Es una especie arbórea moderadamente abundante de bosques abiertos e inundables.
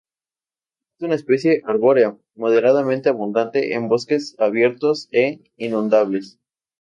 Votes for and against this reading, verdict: 2, 4, rejected